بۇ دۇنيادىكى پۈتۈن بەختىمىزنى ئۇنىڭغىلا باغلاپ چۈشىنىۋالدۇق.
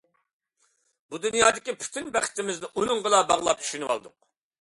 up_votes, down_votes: 2, 1